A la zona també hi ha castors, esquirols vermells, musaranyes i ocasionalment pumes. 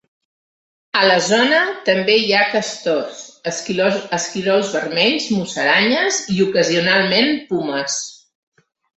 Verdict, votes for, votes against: rejected, 1, 2